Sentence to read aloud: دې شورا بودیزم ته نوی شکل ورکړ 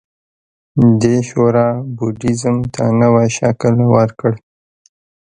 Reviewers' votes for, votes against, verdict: 0, 2, rejected